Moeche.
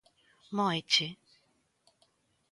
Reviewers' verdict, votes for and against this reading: accepted, 2, 0